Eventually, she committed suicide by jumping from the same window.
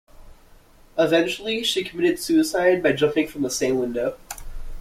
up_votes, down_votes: 2, 0